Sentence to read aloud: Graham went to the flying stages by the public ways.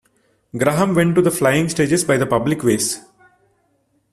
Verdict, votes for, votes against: rejected, 1, 2